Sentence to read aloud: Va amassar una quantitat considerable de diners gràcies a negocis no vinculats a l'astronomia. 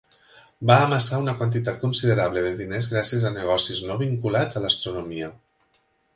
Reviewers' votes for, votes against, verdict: 5, 0, accepted